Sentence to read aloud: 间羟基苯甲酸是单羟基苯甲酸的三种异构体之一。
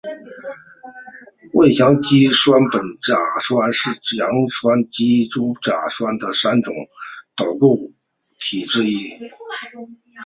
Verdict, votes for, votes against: rejected, 0, 2